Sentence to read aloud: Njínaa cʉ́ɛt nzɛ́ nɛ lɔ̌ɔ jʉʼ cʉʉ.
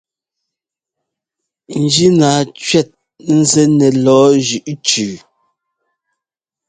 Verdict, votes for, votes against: accepted, 2, 0